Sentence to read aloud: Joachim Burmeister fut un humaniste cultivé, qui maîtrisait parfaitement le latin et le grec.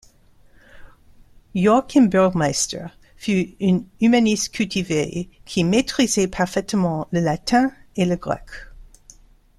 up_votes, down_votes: 0, 2